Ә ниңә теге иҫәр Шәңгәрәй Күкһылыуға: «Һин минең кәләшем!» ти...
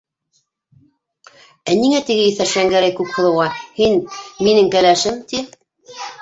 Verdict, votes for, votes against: rejected, 1, 2